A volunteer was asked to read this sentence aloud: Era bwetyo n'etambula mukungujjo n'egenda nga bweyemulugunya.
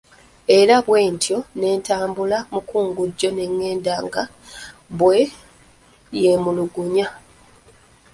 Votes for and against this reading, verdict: 0, 2, rejected